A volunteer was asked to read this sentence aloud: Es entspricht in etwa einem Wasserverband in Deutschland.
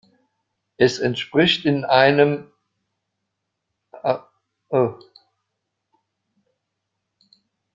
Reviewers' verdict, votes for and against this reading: rejected, 0, 2